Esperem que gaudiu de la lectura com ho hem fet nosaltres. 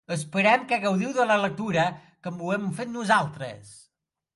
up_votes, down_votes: 2, 0